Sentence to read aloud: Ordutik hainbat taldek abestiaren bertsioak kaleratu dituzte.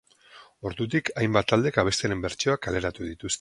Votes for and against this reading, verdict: 0, 4, rejected